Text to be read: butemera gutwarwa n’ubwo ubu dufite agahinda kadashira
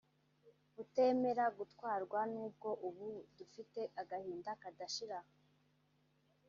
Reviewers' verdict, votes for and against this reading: rejected, 1, 2